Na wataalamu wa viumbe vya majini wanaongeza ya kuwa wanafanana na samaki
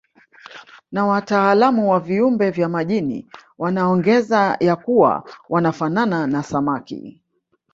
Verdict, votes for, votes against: rejected, 1, 2